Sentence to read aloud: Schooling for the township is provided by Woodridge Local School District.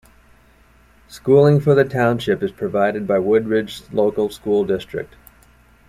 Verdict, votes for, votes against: accepted, 2, 0